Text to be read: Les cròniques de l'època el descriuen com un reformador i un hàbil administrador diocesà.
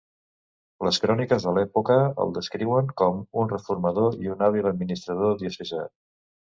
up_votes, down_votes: 2, 0